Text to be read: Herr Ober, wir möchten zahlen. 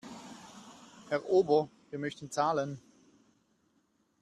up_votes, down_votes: 2, 0